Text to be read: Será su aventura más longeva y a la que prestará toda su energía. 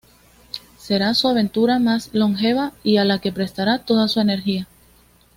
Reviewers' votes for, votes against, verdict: 2, 0, accepted